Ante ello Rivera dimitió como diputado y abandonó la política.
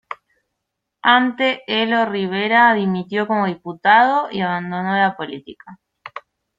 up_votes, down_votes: 0, 2